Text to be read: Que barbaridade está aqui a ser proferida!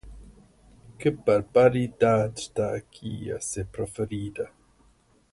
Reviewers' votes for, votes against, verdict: 0, 4, rejected